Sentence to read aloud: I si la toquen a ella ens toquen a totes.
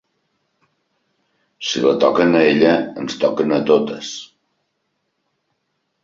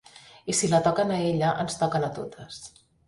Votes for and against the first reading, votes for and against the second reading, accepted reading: 0, 2, 3, 0, second